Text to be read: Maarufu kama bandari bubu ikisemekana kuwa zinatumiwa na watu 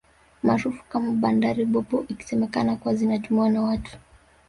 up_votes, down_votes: 1, 2